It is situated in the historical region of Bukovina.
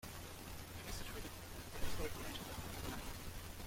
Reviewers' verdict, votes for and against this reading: rejected, 0, 2